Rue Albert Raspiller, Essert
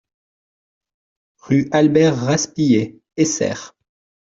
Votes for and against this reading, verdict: 2, 0, accepted